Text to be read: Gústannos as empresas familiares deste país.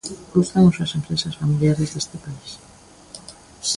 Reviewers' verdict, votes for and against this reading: rejected, 1, 2